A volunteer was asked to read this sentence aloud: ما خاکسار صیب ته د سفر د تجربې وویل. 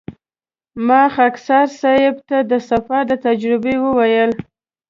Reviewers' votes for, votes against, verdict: 2, 0, accepted